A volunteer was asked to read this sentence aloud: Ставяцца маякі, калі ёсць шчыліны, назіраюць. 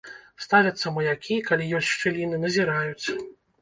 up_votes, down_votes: 0, 2